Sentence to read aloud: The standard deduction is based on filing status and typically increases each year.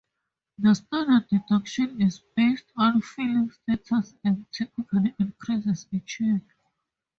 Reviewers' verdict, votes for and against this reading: rejected, 0, 2